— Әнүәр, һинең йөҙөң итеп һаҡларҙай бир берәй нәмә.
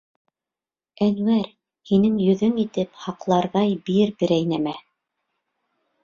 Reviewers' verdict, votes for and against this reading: accepted, 2, 0